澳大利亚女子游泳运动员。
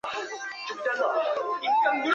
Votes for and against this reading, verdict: 2, 3, rejected